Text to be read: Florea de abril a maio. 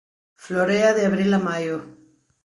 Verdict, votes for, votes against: accepted, 2, 0